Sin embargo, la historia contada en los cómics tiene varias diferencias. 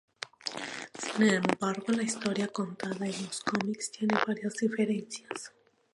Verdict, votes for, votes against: rejected, 0, 2